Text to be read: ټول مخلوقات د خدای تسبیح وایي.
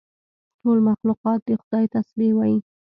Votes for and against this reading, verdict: 2, 0, accepted